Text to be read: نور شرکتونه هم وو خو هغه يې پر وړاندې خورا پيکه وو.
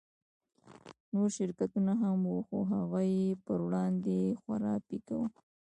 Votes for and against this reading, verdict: 1, 2, rejected